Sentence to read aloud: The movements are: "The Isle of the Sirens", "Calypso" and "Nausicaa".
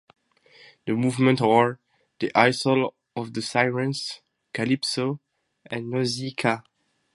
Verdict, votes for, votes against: rejected, 2, 2